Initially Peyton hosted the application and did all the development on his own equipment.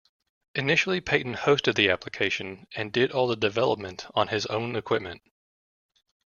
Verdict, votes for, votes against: accepted, 2, 0